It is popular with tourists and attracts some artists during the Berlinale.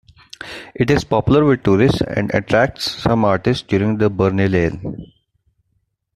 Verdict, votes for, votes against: accepted, 2, 0